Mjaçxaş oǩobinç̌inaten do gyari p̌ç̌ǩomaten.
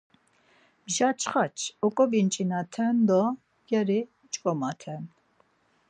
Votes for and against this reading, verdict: 0, 4, rejected